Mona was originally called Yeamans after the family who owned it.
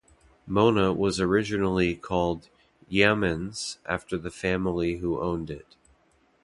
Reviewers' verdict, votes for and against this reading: accepted, 2, 0